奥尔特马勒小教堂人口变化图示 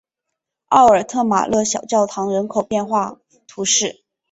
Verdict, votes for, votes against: accepted, 3, 0